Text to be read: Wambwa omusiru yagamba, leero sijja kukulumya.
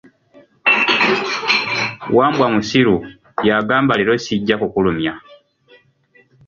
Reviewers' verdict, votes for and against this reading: accepted, 2, 0